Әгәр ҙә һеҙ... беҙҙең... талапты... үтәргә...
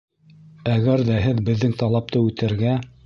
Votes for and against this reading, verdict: 1, 2, rejected